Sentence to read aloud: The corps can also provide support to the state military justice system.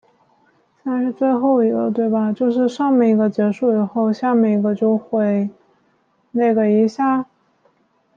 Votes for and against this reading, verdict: 0, 2, rejected